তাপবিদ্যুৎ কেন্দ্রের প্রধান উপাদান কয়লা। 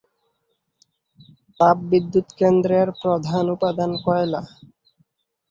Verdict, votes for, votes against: accepted, 14, 3